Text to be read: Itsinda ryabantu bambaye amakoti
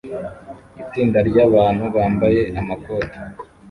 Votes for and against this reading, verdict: 1, 2, rejected